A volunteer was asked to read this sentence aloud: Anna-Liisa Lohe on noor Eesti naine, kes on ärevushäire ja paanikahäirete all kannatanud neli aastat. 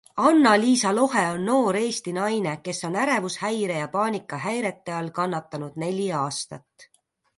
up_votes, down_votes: 2, 0